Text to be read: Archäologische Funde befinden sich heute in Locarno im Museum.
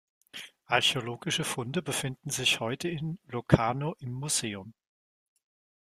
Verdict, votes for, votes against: accepted, 2, 1